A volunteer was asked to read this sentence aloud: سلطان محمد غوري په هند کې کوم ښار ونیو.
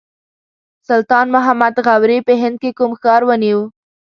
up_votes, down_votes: 1, 2